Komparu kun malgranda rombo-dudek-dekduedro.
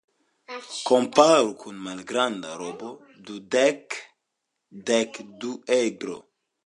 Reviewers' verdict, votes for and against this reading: rejected, 2, 3